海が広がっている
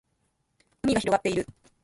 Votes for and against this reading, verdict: 2, 1, accepted